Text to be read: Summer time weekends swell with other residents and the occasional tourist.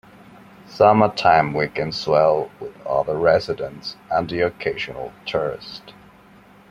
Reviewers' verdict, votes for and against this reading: accepted, 2, 0